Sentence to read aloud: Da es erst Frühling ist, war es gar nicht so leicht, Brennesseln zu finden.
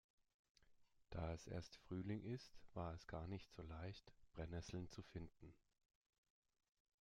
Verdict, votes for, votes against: accepted, 2, 0